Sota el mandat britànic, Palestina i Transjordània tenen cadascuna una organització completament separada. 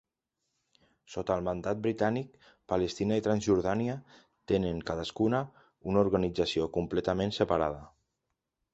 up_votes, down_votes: 4, 0